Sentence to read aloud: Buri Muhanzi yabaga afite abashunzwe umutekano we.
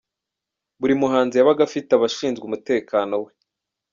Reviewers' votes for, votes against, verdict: 1, 2, rejected